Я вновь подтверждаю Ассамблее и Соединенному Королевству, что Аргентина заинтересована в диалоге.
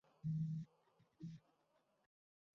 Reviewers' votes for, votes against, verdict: 0, 2, rejected